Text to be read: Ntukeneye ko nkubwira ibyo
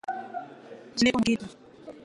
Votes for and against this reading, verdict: 0, 2, rejected